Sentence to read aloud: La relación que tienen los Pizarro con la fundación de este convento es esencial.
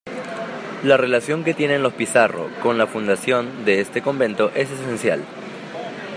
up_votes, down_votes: 2, 1